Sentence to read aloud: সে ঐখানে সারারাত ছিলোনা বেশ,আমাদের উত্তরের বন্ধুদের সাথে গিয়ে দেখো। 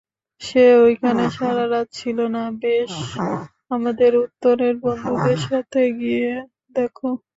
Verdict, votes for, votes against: accepted, 2, 0